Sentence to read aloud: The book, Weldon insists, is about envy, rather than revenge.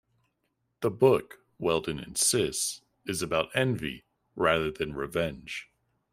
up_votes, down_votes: 2, 0